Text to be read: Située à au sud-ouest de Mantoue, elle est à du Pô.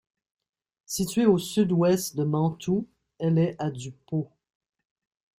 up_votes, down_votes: 0, 2